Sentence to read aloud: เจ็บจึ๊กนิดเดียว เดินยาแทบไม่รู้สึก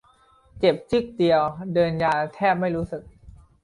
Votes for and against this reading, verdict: 0, 2, rejected